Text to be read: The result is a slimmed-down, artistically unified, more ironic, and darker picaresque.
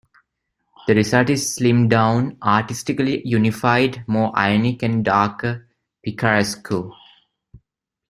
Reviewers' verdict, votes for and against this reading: rejected, 0, 2